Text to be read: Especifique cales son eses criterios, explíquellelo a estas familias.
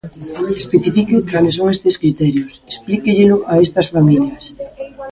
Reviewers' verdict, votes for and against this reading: rejected, 0, 2